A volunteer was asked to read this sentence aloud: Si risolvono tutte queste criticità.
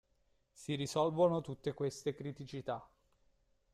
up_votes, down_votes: 2, 0